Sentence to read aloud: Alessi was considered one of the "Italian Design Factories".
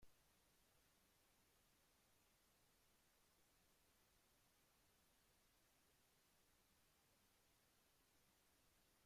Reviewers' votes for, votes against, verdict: 0, 2, rejected